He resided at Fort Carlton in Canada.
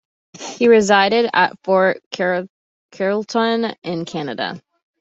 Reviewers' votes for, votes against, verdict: 0, 2, rejected